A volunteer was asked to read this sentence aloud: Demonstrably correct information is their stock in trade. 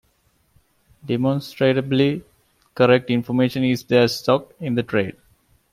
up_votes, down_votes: 1, 2